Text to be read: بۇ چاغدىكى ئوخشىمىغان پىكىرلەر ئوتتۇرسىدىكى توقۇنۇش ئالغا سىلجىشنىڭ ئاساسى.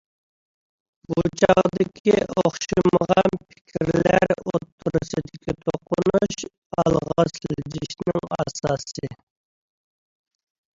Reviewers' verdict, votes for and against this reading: rejected, 0, 2